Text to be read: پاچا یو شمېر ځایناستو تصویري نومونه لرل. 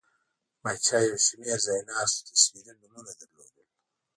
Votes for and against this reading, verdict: 2, 0, accepted